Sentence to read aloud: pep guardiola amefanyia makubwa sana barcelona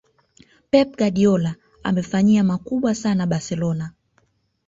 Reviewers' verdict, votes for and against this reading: accepted, 2, 0